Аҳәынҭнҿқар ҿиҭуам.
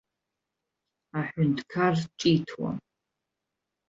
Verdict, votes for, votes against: accepted, 2, 0